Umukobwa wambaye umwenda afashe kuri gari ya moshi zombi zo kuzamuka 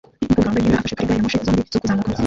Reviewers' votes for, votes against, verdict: 0, 2, rejected